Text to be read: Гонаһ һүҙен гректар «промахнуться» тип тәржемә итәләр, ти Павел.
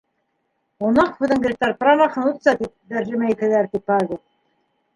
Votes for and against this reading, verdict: 1, 2, rejected